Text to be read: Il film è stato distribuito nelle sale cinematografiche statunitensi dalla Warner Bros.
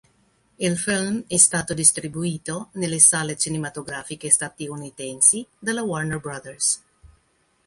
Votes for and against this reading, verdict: 1, 2, rejected